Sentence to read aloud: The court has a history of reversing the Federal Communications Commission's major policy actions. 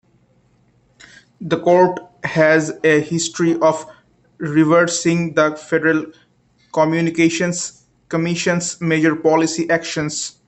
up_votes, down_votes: 3, 0